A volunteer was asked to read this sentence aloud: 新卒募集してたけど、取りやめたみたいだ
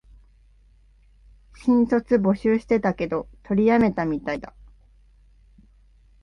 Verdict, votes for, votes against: accepted, 4, 1